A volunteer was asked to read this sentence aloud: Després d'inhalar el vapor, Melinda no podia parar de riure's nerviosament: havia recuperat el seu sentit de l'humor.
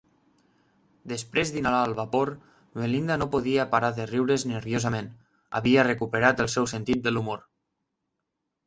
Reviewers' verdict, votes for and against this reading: accepted, 3, 0